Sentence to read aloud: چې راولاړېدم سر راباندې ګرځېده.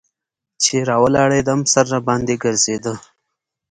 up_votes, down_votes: 2, 0